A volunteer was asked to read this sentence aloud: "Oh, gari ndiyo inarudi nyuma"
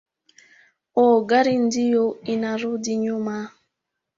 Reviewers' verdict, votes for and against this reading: accepted, 4, 0